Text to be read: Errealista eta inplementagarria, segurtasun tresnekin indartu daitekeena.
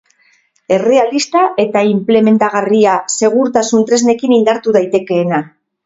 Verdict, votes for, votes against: accepted, 6, 0